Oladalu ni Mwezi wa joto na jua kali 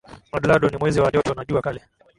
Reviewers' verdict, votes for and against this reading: accepted, 5, 2